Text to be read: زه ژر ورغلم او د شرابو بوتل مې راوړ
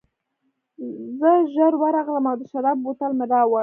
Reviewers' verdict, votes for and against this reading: rejected, 1, 2